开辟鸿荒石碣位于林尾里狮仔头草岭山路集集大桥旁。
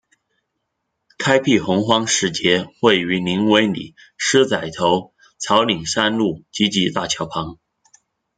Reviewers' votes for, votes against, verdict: 1, 2, rejected